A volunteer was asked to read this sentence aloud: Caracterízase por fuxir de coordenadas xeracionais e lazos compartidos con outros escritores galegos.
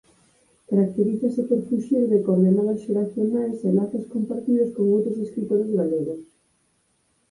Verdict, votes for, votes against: accepted, 4, 0